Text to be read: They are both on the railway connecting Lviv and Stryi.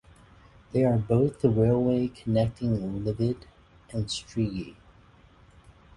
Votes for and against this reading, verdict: 0, 6, rejected